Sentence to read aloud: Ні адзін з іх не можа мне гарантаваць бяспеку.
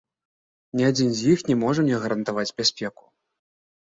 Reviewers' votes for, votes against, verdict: 2, 0, accepted